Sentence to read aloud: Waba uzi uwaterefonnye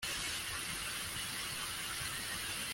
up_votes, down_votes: 0, 2